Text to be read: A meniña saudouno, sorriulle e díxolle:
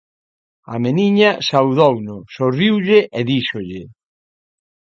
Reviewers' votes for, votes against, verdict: 2, 0, accepted